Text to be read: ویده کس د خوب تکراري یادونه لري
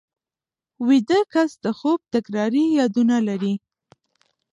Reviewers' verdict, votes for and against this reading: rejected, 1, 2